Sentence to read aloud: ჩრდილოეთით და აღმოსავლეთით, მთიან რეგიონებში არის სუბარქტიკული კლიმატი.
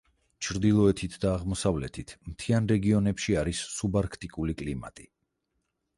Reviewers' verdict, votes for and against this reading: accepted, 4, 0